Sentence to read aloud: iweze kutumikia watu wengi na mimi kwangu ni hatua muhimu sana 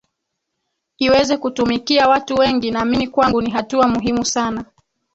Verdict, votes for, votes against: rejected, 2, 3